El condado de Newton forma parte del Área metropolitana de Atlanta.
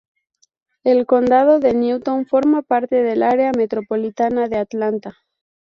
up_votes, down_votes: 2, 0